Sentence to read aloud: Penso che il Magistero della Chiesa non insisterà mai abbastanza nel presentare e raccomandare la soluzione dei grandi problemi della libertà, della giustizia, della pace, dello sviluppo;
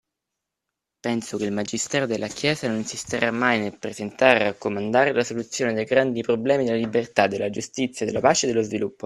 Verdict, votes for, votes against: accepted, 3, 1